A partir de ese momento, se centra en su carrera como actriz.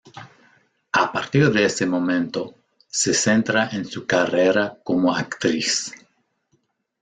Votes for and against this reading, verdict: 2, 0, accepted